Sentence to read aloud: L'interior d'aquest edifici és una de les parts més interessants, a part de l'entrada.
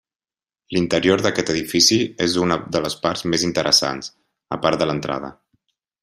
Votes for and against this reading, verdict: 1, 2, rejected